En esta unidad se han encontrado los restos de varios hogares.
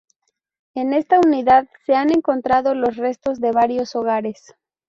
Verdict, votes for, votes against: accepted, 4, 0